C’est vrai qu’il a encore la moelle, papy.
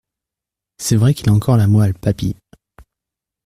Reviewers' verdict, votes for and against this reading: accepted, 2, 0